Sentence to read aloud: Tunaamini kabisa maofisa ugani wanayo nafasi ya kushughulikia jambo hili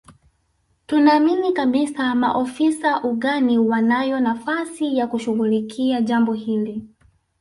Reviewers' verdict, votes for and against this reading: accepted, 2, 0